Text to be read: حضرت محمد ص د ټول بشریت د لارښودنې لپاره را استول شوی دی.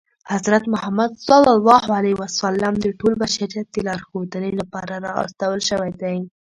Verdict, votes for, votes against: accepted, 2, 0